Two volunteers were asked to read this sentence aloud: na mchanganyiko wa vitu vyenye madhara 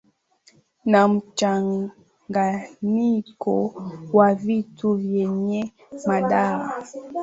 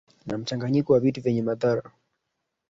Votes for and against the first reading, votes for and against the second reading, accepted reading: 11, 7, 0, 2, first